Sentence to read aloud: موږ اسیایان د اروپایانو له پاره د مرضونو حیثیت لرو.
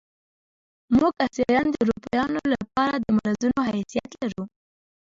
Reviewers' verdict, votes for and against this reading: rejected, 0, 2